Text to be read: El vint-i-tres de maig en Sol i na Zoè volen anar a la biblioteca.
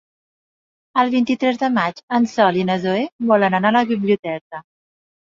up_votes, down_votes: 3, 0